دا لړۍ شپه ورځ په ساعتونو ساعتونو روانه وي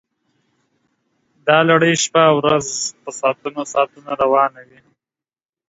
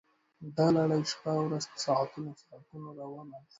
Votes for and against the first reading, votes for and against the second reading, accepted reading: 2, 0, 1, 2, first